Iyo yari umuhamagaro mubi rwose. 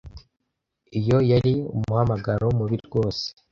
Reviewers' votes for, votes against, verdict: 2, 0, accepted